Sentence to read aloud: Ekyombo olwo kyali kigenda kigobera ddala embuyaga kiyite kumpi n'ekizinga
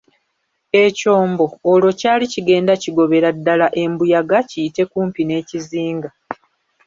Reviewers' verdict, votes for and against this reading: rejected, 1, 2